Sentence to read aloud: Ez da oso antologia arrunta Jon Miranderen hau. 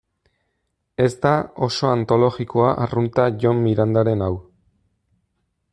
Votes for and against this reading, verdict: 1, 2, rejected